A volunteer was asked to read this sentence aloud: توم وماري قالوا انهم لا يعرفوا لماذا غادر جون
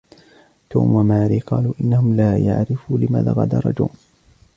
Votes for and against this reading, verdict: 0, 2, rejected